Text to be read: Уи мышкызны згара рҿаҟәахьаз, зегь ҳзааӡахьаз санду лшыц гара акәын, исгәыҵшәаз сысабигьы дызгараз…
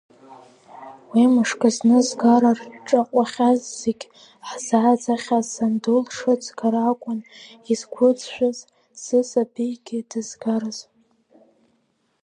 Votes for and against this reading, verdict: 0, 2, rejected